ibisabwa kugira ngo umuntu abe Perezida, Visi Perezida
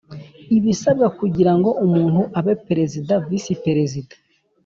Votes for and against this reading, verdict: 3, 0, accepted